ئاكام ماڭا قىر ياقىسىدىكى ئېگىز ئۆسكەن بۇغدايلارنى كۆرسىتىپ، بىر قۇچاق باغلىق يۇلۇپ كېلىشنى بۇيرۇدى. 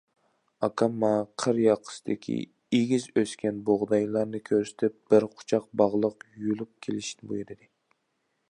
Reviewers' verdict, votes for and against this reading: accepted, 2, 0